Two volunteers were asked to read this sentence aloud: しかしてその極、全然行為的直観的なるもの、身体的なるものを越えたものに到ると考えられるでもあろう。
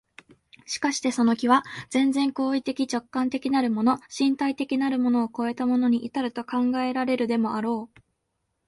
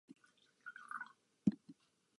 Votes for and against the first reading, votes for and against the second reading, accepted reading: 2, 0, 2, 13, first